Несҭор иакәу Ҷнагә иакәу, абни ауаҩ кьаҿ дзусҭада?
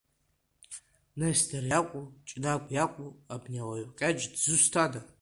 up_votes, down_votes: 2, 0